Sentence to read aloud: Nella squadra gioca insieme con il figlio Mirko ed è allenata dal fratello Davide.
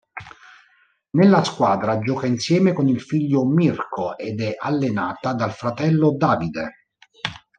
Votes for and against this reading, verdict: 2, 0, accepted